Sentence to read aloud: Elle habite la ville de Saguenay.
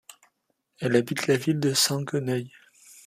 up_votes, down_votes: 0, 2